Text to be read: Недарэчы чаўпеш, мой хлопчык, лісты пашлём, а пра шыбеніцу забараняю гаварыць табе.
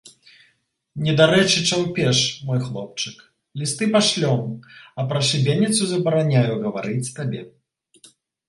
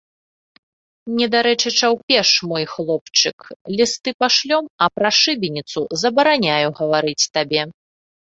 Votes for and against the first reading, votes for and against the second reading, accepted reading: 1, 2, 2, 0, second